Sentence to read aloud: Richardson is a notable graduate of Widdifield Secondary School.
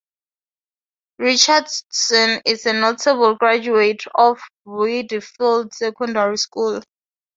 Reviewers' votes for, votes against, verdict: 2, 2, rejected